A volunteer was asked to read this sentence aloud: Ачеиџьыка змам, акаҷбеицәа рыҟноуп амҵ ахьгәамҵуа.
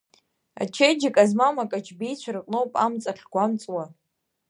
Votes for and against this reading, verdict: 3, 0, accepted